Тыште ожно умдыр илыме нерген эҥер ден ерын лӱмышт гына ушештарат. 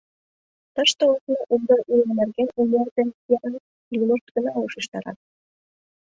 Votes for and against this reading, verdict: 0, 2, rejected